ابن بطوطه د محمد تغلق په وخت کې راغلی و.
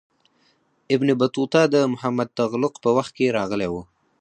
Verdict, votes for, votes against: rejected, 2, 4